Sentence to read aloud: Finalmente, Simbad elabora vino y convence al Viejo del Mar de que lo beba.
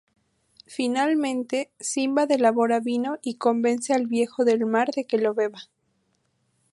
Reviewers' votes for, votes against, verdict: 2, 0, accepted